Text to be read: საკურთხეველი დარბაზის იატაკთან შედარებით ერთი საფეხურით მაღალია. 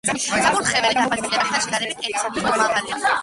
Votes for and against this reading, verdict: 1, 2, rejected